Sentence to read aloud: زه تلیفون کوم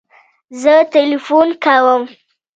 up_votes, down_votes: 2, 0